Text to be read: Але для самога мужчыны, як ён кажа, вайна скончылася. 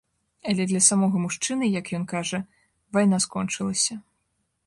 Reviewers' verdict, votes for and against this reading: accepted, 2, 0